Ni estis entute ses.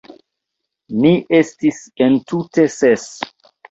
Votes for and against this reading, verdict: 2, 1, accepted